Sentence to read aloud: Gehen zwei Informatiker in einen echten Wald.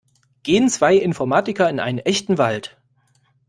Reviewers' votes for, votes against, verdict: 3, 0, accepted